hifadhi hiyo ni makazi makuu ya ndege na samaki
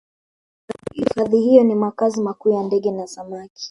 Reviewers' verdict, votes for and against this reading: rejected, 1, 2